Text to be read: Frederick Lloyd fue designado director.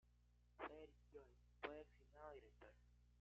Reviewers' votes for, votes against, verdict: 0, 2, rejected